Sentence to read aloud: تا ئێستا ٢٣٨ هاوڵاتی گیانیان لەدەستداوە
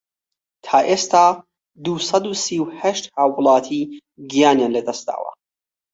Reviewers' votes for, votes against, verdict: 0, 2, rejected